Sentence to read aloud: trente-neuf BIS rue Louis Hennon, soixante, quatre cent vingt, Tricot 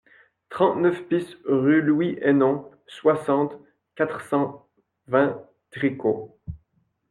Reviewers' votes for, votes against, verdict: 2, 0, accepted